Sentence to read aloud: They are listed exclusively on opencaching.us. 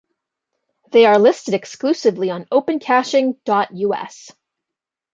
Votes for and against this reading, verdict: 2, 0, accepted